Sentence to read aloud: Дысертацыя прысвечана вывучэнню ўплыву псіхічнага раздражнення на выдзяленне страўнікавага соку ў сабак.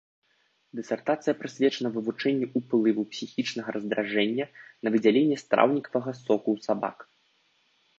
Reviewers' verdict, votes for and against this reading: rejected, 0, 2